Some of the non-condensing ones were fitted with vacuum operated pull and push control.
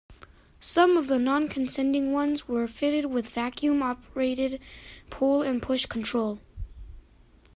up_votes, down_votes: 0, 2